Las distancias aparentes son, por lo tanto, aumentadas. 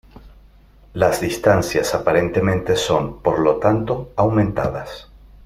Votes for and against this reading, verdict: 0, 2, rejected